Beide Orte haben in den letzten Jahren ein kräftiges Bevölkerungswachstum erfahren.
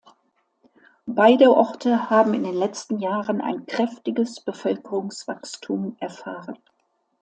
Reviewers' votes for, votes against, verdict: 2, 0, accepted